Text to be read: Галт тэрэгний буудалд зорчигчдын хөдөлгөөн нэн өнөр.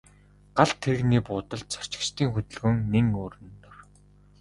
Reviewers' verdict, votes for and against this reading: rejected, 0, 2